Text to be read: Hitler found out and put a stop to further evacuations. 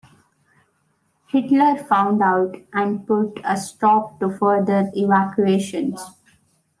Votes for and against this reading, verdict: 2, 0, accepted